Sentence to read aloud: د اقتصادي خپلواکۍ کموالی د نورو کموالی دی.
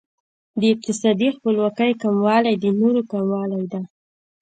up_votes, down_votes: 2, 0